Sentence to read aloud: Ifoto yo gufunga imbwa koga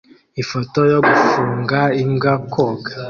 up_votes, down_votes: 2, 0